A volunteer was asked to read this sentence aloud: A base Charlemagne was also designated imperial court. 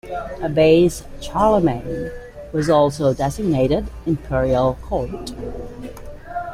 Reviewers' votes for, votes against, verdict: 2, 0, accepted